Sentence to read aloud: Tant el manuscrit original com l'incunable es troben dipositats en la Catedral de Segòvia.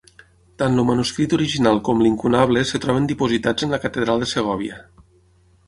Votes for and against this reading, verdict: 6, 0, accepted